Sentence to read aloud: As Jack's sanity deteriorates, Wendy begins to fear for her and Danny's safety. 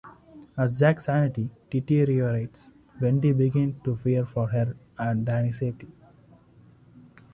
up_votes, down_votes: 1, 2